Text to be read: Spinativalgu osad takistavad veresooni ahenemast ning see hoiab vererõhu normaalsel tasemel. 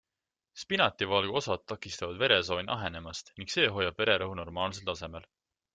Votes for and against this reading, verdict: 3, 0, accepted